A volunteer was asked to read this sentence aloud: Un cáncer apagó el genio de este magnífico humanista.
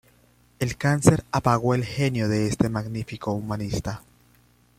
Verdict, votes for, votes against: rejected, 0, 2